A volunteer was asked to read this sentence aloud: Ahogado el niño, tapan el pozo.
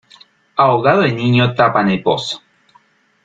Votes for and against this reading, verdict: 1, 2, rejected